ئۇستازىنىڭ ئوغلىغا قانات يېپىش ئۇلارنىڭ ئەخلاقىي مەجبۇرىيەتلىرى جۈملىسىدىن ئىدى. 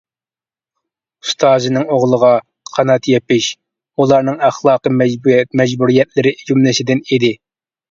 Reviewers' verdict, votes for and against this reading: rejected, 0, 2